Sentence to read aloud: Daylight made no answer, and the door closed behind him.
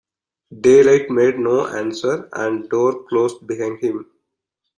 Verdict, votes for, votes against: rejected, 1, 2